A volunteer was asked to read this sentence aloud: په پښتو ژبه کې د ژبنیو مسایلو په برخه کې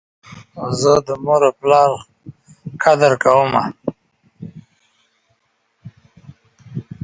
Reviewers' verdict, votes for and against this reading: rejected, 0, 2